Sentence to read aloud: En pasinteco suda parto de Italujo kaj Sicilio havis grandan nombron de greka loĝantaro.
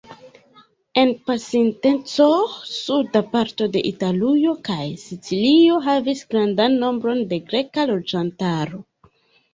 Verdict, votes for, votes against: rejected, 0, 2